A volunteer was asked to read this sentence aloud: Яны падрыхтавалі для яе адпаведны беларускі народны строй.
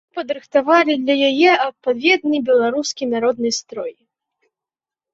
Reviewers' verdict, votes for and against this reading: rejected, 0, 2